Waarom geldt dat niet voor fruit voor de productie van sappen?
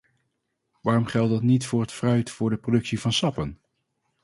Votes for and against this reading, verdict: 0, 4, rejected